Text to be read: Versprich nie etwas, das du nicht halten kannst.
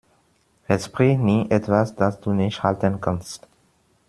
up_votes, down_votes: 2, 1